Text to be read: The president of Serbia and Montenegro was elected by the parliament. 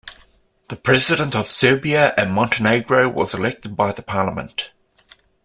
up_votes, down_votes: 2, 0